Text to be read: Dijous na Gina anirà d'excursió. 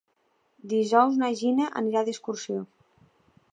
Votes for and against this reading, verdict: 2, 0, accepted